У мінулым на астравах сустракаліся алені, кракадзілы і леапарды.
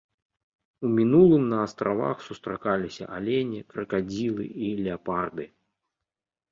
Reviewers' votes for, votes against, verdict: 2, 0, accepted